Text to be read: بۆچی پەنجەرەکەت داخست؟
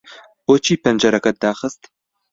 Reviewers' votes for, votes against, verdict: 2, 0, accepted